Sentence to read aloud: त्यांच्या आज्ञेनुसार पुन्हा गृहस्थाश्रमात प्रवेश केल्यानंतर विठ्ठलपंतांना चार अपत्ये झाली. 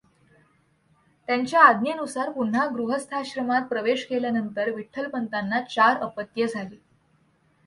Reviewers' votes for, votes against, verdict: 2, 0, accepted